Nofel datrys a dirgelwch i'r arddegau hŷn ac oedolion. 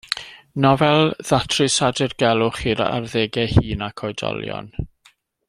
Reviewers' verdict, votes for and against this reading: rejected, 1, 2